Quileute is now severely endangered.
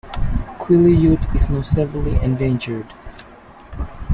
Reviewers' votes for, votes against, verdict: 2, 1, accepted